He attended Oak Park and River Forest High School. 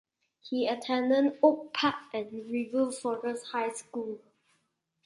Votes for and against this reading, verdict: 2, 0, accepted